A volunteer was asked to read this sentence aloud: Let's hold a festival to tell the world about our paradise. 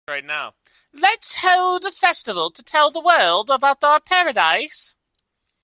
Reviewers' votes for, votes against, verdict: 0, 2, rejected